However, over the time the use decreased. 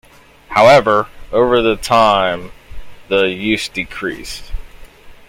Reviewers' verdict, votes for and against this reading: accepted, 2, 0